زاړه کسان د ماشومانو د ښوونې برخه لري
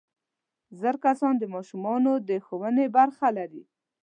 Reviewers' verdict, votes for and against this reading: accepted, 2, 0